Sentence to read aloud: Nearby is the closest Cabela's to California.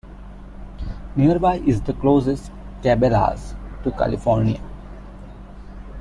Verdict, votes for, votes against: rejected, 0, 2